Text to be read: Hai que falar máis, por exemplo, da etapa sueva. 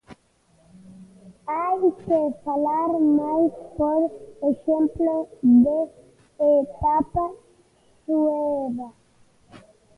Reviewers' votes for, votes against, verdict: 0, 2, rejected